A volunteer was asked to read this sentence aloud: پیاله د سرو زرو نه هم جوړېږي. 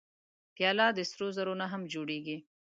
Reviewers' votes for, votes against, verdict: 3, 0, accepted